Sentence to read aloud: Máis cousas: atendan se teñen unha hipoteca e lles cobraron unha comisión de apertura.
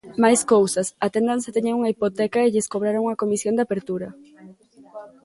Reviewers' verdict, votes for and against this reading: accepted, 2, 0